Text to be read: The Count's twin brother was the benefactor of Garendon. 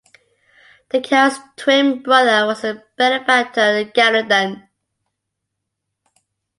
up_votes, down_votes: 2, 0